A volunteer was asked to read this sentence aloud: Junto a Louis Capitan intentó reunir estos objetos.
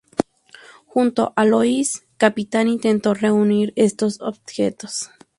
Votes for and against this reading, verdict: 0, 2, rejected